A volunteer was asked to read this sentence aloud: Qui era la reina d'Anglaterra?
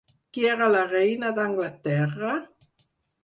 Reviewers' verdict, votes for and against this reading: accepted, 4, 0